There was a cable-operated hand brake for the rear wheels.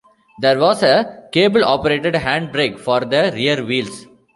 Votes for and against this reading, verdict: 2, 0, accepted